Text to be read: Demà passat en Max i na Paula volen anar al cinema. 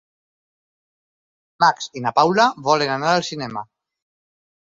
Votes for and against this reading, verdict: 2, 4, rejected